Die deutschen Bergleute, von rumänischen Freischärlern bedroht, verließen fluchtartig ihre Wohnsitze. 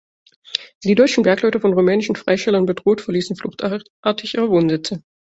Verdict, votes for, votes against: rejected, 0, 2